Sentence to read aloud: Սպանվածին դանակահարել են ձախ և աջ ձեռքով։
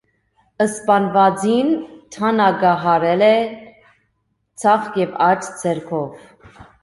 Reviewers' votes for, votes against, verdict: 1, 2, rejected